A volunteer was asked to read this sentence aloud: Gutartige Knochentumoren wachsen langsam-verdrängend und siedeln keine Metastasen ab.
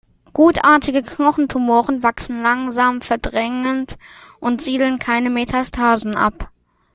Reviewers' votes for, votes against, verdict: 1, 2, rejected